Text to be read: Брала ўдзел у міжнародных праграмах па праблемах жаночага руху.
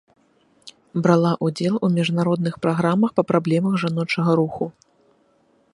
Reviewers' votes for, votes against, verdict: 2, 0, accepted